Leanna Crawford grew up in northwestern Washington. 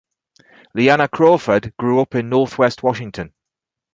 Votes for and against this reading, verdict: 0, 2, rejected